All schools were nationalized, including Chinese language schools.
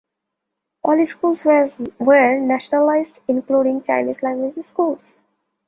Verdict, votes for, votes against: rejected, 0, 2